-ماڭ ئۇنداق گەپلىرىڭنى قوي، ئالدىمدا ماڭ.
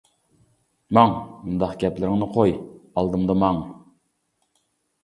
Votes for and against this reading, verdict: 2, 0, accepted